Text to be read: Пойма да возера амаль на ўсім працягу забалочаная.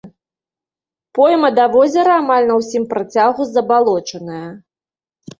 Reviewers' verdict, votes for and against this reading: accepted, 2, 0